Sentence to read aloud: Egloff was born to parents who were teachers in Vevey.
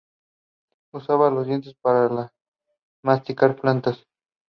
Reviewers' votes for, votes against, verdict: 0, 2, rejected